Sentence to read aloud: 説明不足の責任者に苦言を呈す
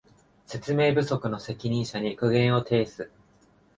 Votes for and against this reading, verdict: 2, 0, accepted